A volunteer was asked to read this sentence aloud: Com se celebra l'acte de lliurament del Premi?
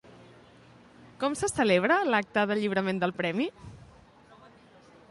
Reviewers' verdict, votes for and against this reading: accepted, 2, 0